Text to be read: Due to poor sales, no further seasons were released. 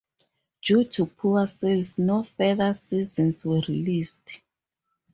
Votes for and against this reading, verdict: 2, 0, accepted